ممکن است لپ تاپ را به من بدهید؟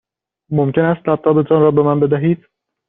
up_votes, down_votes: 1, 2